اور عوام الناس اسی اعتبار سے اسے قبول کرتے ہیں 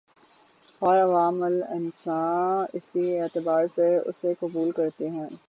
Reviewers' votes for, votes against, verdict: 0, 6, rejected